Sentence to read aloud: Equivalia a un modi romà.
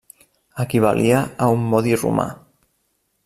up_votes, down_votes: 1, 2